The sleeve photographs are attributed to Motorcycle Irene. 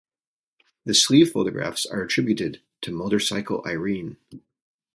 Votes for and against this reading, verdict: 2, 0, accepted